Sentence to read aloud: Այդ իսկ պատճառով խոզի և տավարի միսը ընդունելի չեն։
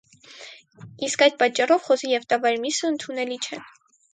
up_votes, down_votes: 2, 2